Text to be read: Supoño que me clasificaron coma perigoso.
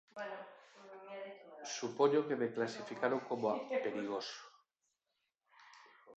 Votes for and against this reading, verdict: 0, 4, rejected